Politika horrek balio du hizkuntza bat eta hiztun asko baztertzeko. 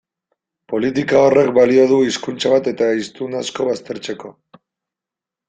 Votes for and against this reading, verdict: 2, 0, accepted